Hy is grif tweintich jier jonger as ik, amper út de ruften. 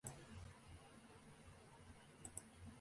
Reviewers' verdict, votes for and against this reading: rejected, 0, 2